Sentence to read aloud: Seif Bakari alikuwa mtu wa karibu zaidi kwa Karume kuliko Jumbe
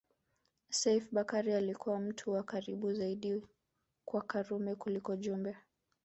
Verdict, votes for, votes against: rejected, 1, 2